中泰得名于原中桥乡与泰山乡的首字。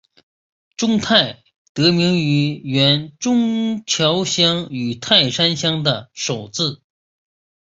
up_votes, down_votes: 2, 0